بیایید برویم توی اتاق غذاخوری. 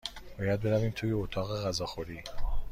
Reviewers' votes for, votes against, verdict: 1, 2, rejected